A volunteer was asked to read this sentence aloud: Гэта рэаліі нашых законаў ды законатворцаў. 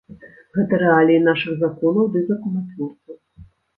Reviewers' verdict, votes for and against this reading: rejected, 1, 2